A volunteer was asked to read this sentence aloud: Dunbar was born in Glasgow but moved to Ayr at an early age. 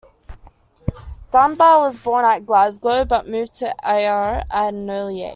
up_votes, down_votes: 0, 2